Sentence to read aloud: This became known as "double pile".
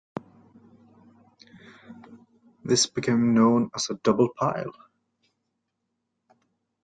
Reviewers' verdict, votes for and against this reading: rejected, 1, 2